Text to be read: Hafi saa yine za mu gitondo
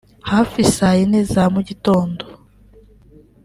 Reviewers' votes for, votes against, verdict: 2, 0, accepted